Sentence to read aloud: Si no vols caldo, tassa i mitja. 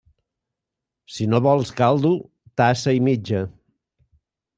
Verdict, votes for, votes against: accepted, 2, 0